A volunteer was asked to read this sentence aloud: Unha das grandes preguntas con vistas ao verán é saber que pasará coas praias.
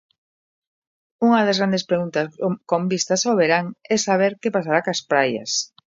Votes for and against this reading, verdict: 0, 2, rejected